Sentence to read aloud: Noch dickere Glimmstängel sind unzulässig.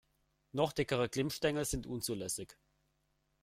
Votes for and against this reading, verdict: 2, 0, accepted